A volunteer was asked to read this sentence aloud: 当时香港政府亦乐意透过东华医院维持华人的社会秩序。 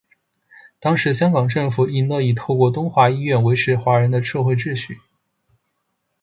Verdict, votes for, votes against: accepted, 3, 1